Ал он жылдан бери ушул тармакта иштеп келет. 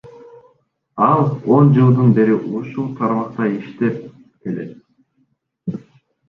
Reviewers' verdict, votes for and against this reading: rejected, 0, 2